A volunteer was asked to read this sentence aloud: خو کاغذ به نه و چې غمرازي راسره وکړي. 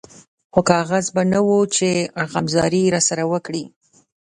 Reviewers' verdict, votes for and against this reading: rejected, 1, 2